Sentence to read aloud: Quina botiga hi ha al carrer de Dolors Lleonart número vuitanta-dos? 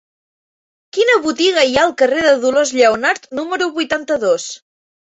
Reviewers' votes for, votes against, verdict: 2, 0, accepted